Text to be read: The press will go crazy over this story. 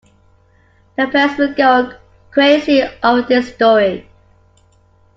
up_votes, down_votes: 2, 0